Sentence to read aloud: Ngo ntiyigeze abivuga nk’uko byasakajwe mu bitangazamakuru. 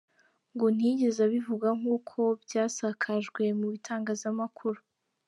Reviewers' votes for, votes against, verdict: 2, 0, accepted